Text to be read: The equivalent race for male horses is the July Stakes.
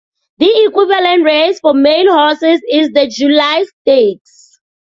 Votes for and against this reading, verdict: 2, 0, accepted